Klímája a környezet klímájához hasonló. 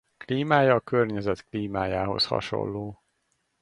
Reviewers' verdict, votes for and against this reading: rejected, 2, 2